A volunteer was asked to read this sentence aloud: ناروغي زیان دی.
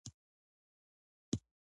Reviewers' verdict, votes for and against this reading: rejected, 0, 2